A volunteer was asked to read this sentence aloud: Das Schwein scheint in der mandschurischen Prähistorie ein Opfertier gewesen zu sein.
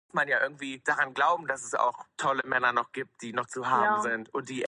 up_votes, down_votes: 0, 3